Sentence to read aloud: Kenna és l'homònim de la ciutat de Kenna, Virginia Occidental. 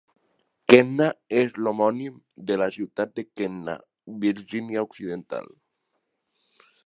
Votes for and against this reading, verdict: 2, 0, accepted